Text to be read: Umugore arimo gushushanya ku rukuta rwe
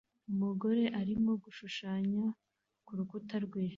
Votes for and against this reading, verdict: 2, 0, accepted